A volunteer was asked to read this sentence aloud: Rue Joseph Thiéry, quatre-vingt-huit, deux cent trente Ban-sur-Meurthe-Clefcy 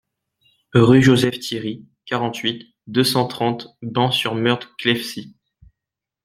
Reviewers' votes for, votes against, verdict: 0, 2, rejected